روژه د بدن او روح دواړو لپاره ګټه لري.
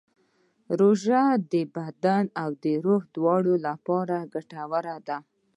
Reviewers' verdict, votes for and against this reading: accepted, 2, 1